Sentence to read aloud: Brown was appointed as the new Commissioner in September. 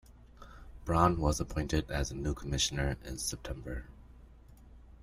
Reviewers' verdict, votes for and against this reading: rejected, 0, 2